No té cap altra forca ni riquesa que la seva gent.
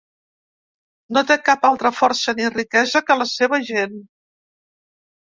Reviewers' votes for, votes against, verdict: 1, 2, rejected